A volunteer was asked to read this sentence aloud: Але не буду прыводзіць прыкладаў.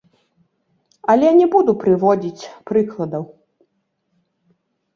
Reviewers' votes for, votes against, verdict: 3, 0, accepted